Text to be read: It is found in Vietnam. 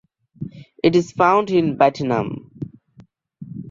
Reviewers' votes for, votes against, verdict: 1, 2, rejected